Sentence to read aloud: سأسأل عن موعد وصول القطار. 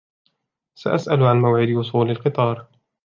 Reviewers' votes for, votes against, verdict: 2, 1, accepted